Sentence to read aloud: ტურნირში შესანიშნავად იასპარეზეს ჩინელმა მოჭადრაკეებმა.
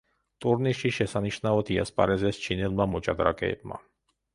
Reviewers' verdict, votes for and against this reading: accepted, 2, 0